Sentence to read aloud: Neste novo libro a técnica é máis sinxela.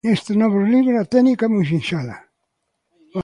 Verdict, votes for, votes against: rejected, 0, 2